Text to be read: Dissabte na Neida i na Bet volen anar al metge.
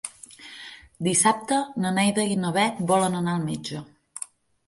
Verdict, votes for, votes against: accepted, 15, 0